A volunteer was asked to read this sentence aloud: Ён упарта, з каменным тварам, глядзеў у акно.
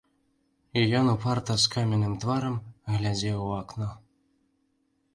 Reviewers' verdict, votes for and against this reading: rejected, 0, 2